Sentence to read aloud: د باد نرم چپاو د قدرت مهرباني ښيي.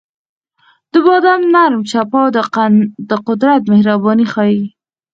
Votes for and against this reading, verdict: 4, 2, accepted